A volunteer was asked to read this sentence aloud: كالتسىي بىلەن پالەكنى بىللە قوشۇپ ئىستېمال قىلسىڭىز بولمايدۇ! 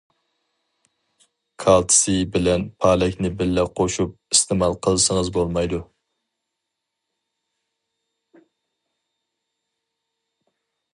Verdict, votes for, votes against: accepted, 4, 0